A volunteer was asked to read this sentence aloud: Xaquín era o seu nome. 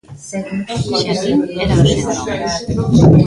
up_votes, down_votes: 0, 2